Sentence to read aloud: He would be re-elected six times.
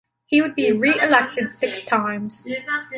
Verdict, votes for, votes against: accepted, 2, 0